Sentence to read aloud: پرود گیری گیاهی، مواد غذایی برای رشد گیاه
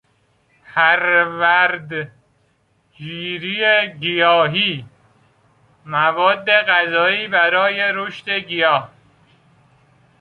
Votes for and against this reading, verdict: 0, 3, rejected